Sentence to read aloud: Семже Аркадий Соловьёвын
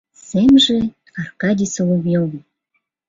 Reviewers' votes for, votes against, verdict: 2, 0, accepted